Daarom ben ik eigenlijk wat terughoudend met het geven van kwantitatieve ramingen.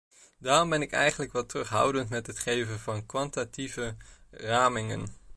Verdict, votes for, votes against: rejected, 0, 2